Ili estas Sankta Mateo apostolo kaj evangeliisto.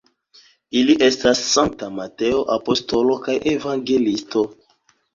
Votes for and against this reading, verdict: 3, 4, rejected